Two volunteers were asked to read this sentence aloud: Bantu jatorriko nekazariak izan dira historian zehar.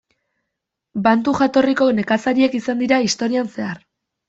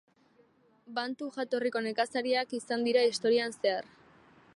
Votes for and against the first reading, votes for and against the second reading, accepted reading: 1, 2, 4, 1, second